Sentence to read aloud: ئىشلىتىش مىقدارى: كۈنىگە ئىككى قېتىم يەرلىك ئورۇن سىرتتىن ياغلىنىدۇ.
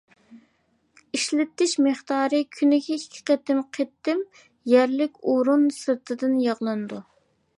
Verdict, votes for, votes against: rejected, 1, 2